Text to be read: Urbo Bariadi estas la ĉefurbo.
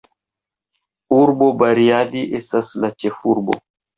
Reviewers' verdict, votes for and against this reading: accepted, 2, 0